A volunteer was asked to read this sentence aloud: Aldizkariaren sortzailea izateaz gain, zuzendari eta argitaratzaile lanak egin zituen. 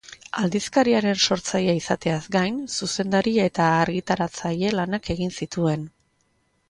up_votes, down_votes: 2, 0